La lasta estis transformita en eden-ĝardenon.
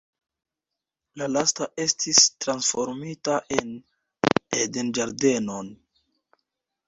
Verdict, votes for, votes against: rejected, 1, 2